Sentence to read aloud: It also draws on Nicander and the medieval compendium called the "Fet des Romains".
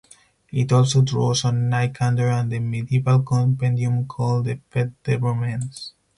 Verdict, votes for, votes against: rejected, 2, 4